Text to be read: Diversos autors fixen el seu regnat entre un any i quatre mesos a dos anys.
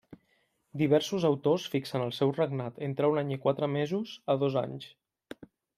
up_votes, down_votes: 3, 0